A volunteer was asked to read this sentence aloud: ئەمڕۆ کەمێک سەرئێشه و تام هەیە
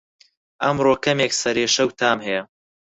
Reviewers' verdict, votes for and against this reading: accepted, 4, 0